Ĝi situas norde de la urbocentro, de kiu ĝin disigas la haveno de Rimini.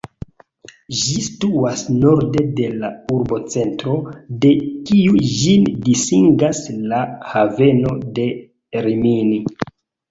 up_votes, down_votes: 2, 1